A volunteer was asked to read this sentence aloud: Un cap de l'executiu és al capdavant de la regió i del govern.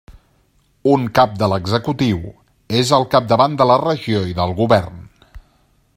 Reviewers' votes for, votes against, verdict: 2, 1, accepted